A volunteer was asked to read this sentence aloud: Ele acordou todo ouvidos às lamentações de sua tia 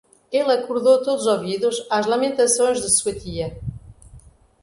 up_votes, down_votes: 1, 2